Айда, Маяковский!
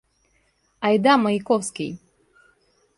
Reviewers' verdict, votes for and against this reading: accepted, 2, 0